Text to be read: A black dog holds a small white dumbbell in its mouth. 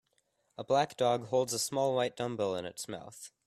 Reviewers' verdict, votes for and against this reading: accepted, 2, 0